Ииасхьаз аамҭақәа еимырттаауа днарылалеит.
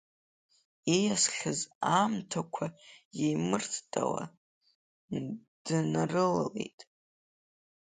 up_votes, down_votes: 2, 1